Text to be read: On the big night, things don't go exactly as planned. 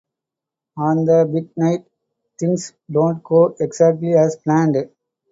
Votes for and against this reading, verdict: 4, 0, accepted